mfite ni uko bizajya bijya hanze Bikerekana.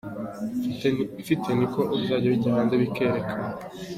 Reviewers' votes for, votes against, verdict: 0, 2, rejected